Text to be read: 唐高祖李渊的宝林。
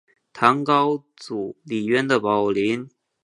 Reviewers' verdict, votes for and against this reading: accepted, 2, 0